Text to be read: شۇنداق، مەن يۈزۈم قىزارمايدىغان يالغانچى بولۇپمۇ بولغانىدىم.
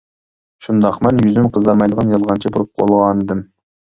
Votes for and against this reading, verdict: 0, 2, rejected